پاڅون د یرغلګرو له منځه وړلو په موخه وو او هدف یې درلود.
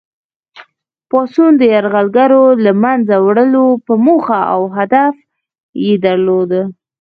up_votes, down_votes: 4, 2